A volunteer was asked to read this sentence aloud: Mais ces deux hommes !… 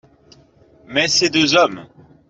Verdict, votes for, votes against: accepted, 2, 0